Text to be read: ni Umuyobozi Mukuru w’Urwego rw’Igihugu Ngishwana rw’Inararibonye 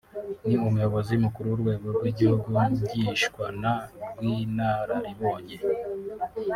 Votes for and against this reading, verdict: 0, 2, rejected